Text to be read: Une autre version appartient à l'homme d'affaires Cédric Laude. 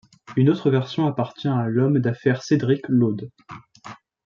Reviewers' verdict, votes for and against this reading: accepted, 2, 1